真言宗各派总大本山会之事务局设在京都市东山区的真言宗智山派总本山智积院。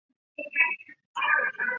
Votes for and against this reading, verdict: 0, 2, rejected